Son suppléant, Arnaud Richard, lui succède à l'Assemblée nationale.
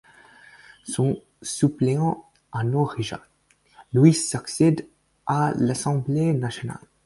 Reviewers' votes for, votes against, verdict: 4, 2, accepted